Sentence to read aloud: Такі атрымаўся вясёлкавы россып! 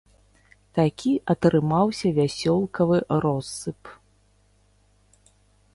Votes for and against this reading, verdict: 3, 0, accepted